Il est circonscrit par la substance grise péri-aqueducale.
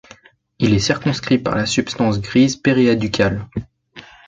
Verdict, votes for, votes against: rejected, 1, 2